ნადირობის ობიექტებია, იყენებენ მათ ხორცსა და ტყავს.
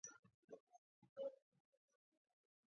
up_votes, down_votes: 0, 2